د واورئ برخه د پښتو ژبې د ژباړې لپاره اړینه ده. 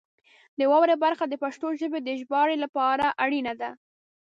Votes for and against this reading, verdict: 2, 0, accepted